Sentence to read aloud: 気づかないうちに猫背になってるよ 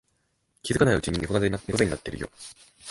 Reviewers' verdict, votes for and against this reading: rejected, 0, 2